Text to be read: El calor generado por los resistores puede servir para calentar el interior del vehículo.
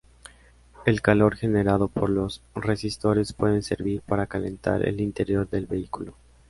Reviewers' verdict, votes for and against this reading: accepted, 2, 0